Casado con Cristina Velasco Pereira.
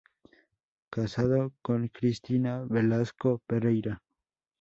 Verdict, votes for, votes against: accepted, 2, 0